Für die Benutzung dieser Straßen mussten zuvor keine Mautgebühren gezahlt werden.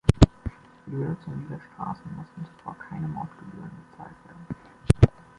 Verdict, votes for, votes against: rejected, 0, 2